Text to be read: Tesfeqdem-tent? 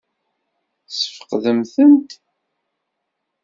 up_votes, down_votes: 2, 0